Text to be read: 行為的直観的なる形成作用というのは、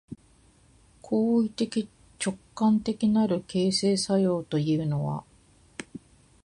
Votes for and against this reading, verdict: 2, 0, accepted